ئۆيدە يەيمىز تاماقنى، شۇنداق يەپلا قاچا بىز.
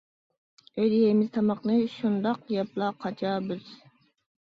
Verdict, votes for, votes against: accepted, 2, 0